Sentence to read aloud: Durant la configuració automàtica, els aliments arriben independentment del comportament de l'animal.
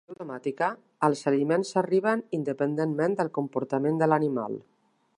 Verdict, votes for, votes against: rejected, 0, 2